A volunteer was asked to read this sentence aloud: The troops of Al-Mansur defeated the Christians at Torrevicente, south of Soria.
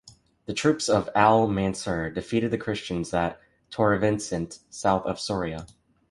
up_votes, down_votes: 1, 2